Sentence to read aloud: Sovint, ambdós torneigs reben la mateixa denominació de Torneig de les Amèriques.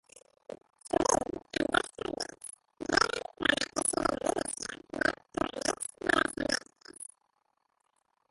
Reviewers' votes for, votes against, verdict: 0, 2, rejected